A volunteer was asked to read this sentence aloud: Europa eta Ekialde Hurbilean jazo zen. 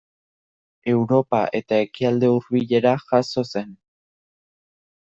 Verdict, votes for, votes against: rejected, 1, 2